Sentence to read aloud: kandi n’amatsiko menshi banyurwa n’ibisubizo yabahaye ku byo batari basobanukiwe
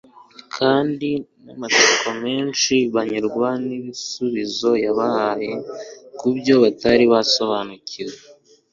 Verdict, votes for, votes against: accepted, 2, 0